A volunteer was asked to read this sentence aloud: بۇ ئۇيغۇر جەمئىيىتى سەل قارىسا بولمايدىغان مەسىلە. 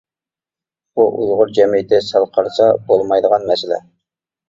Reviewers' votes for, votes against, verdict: 2, 0, accepted